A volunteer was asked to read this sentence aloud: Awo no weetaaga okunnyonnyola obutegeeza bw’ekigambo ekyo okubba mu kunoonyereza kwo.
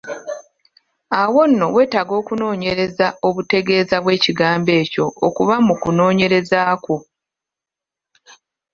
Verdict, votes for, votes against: rejected, 1, 2